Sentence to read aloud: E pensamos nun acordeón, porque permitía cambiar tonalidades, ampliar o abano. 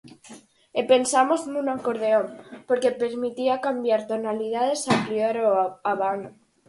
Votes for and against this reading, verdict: 4, 2, accepted